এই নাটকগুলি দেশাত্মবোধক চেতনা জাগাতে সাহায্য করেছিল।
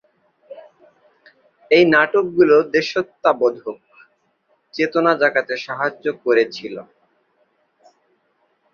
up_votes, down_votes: 4, 8